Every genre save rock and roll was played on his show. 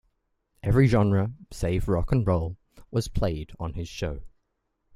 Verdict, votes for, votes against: accepted, 2, 0